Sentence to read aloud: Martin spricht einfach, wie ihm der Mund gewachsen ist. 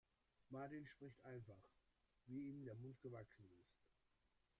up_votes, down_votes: 1, 4